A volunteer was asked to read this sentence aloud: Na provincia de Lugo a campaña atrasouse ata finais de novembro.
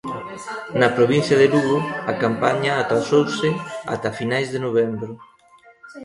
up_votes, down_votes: 0, 2